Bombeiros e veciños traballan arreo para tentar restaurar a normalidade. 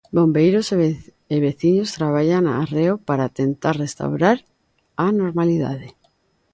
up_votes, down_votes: 0, 2